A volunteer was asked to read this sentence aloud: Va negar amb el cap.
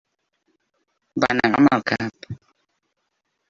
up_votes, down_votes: 2, 1